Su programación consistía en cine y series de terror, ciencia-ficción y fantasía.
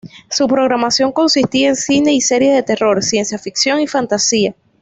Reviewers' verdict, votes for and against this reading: accepted, 2, 0